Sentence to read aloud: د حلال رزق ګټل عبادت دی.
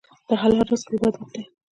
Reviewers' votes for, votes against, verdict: 0, 2, rejected